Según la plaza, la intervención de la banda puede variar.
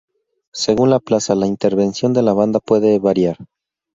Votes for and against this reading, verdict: 4, 0, accepted